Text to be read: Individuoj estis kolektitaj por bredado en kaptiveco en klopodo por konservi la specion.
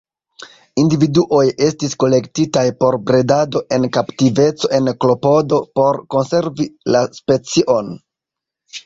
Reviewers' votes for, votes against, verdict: 2, 0, accepted